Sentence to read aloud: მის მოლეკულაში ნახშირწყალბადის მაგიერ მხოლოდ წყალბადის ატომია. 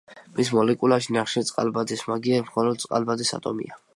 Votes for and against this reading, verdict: 2, 1, accepted